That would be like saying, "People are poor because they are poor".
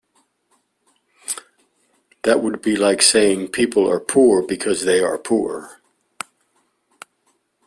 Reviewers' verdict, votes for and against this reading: accepted, 2, 0